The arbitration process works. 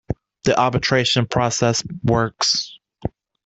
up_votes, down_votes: 2, 0